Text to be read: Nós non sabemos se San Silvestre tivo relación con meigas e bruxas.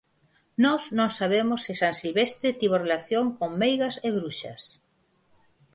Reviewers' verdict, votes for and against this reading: accepted, 4, 2